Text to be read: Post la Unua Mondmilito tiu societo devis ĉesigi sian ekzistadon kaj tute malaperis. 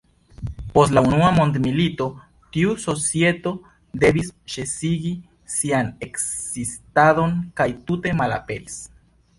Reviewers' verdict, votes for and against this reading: accepted, 2, 0